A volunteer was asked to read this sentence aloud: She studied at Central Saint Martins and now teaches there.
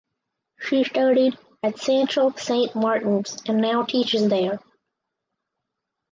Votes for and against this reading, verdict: 4, 0, accepted